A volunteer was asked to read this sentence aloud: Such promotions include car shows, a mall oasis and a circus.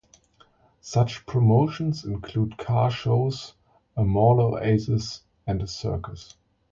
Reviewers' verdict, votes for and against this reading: accepted, 2, 0